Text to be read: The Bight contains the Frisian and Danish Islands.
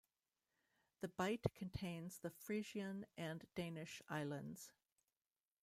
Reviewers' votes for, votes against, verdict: 2, 1, accepted